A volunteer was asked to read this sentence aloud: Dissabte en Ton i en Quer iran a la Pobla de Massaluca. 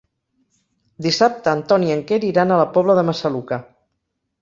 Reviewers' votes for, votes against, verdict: 1, 2, rejected